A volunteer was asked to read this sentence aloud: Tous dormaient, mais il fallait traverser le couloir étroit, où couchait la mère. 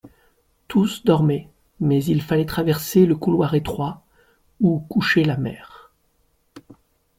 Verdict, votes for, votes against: accepted, 2, 0